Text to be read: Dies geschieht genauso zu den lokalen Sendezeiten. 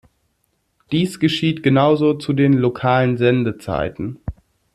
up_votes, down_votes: 2, 0